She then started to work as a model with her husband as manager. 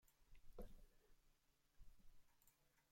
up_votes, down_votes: 0, 2